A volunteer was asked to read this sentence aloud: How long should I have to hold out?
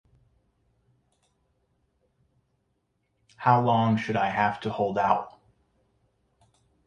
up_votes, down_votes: 2, 0